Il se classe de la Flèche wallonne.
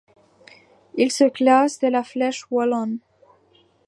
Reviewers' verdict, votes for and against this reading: accepted, 2, 0